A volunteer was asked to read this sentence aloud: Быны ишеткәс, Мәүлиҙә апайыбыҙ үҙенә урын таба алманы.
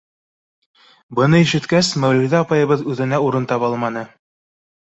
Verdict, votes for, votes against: rejected, 0, 2